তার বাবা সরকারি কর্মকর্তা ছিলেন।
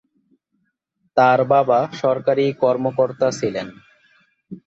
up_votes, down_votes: 2, 3